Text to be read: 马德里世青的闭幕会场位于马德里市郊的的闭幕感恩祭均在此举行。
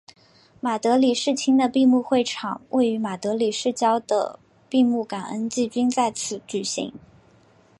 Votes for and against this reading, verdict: 3, 1, accepted